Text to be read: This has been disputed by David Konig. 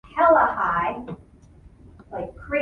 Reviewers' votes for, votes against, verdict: 0, 2, rejected